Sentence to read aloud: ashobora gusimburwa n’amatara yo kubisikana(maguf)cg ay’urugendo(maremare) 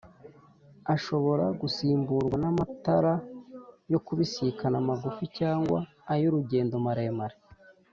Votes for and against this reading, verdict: 3, 0, accepted